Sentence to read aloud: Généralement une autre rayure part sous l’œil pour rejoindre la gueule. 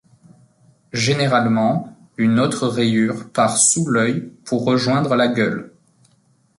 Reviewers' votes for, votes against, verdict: 2, 0, accepted